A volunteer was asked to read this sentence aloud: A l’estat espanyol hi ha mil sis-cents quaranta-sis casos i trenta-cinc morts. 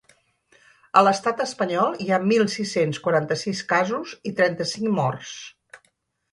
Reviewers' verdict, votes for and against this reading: accepted, 5, 0